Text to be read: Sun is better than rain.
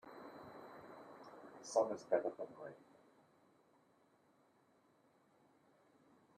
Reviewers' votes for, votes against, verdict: 1, 2, rejected